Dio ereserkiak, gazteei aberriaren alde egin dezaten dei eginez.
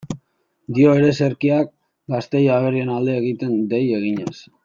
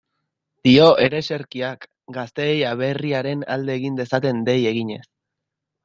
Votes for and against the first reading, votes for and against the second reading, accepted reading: 1, 2, 3, 0, second